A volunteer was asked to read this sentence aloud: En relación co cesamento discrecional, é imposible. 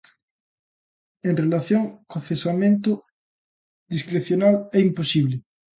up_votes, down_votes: 2, 0